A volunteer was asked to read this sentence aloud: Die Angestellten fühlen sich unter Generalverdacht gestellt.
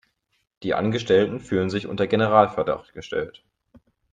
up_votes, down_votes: 2, 0